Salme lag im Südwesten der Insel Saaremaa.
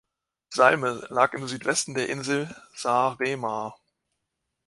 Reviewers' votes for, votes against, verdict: 2, 0, accepted